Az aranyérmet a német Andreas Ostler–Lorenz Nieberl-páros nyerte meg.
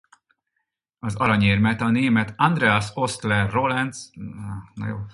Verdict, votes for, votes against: rejected, 0, 4